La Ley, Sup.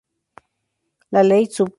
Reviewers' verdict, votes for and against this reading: accepted, 2, 0